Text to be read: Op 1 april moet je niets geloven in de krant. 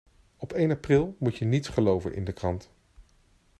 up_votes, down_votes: 0, 2